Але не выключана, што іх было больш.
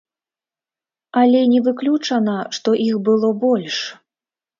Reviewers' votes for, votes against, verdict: 1, 2, rejected